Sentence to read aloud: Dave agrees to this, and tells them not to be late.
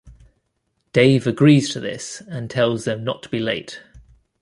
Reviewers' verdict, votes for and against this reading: accepted, 2, 0